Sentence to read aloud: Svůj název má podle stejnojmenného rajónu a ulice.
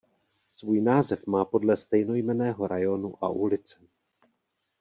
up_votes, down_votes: 2, 0